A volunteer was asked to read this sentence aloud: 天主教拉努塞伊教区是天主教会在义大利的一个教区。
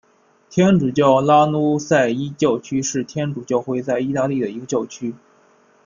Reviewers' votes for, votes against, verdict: 1, 2, rejected